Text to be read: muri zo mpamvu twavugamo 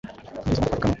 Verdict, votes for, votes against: rejected, 1, 2